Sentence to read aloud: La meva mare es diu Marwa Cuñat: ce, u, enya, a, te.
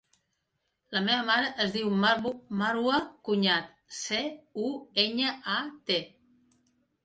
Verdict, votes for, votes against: rejected, 0, 2